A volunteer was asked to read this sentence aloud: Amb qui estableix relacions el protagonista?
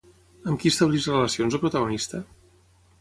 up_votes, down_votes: 6, 0